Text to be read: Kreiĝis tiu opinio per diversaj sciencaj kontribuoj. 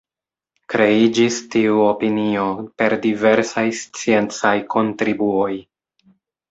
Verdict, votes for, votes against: accepted, 3, 1